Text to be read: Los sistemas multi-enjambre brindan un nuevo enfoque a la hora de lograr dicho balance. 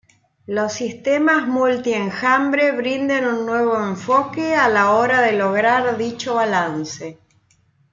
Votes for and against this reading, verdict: 2, 0, accepted